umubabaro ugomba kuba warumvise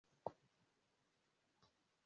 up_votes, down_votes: 0, 2